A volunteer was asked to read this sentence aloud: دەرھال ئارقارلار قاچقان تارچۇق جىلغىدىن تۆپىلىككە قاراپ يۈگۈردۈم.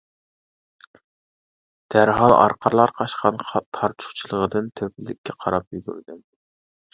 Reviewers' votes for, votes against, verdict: 0, 2, rejected